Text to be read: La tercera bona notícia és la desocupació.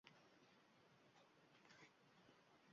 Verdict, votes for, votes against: rejected, 1, 3